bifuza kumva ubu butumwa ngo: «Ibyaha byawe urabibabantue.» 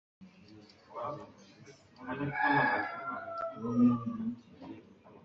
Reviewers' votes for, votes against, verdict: 1, 3, rejected